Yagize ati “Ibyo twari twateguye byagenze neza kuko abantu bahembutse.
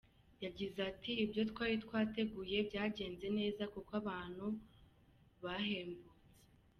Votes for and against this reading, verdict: 2, 1, accepted